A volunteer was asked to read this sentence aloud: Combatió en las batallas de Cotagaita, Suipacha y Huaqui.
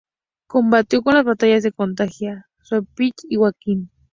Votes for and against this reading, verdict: 0, 2, rejected